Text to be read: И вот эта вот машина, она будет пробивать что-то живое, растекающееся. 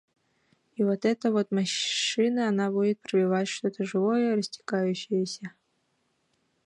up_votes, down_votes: 0, 2